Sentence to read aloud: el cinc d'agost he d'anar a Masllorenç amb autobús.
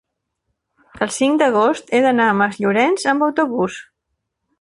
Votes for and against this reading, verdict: 2, 0, accepted